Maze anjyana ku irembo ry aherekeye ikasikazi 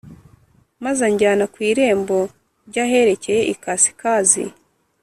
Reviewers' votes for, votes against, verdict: 2, 0, accepted